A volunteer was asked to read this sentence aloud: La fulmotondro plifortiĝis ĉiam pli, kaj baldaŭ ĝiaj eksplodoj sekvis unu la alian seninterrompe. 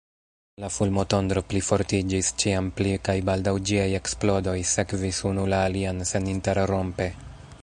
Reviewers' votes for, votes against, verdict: 2, 0, accepted